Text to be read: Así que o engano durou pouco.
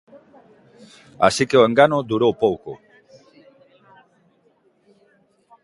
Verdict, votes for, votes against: accepted, 2, 0